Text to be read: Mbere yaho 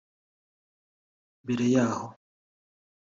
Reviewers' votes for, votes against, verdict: 3, 0, accepted